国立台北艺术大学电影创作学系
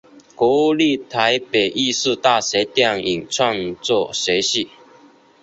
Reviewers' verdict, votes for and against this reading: accepted, 3, 0